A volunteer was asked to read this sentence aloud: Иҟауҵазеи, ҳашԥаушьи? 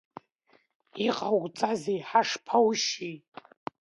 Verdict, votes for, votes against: accepted, 2, 1